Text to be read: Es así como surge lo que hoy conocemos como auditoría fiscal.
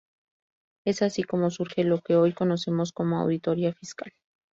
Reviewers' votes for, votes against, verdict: 4, 0, accepted